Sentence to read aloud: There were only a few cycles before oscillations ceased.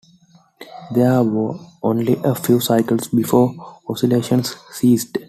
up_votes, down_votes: 2, 0